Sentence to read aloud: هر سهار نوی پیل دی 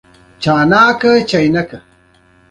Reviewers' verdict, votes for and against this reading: accepted, 2, 0